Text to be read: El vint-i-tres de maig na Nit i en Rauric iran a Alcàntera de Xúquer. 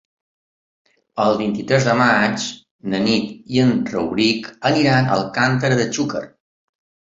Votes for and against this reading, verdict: 0, 3, rejected